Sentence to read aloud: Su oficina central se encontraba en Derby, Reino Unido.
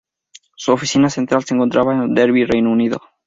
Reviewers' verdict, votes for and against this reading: accepted, 2, 0